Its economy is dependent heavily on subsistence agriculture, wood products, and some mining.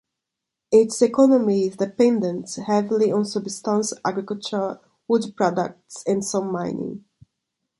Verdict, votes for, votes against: rejected, 0, 2